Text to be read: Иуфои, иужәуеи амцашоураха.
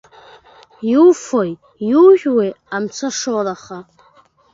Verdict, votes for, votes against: accepted, 2, 0